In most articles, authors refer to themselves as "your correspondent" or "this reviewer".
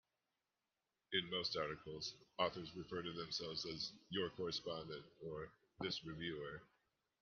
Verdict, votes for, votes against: accepted, 2, 1